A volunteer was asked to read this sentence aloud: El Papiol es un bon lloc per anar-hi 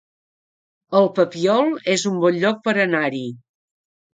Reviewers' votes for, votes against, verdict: 4, 0, accepted